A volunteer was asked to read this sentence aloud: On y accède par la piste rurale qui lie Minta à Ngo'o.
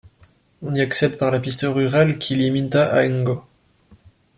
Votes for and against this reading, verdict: 2, 0, accepted